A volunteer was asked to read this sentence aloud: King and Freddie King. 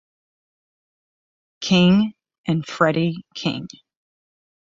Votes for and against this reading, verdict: 6, 0, accepted